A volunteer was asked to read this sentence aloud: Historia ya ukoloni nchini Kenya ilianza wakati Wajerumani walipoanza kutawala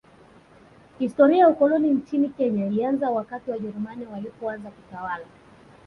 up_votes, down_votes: 2, 0